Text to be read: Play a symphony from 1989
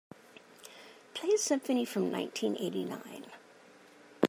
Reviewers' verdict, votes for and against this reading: rejected, 0, 2